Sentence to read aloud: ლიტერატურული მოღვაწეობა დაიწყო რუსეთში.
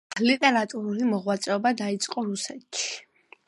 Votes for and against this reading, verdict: 2, 0, accepted